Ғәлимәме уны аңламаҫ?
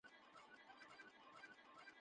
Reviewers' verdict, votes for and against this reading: rejected, 0, 2